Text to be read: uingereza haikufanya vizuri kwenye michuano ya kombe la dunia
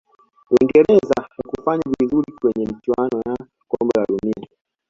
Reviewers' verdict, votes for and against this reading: accepted, 2, 1